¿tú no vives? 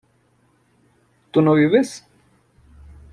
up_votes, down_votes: 2, 0